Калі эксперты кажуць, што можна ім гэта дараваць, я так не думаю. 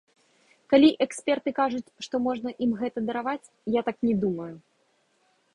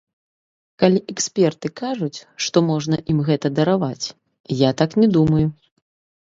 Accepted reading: first